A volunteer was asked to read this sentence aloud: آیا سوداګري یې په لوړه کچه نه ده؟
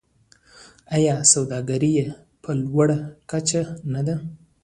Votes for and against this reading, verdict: 2, 1, accepted